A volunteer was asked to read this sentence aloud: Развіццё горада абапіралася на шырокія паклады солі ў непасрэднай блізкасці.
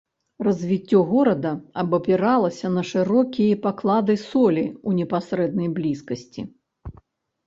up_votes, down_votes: 1, 2